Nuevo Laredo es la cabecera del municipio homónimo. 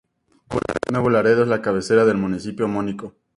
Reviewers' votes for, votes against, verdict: 0, 4, rejected